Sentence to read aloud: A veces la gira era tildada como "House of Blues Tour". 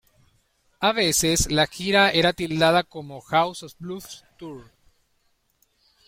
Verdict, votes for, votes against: accepted, 2, 0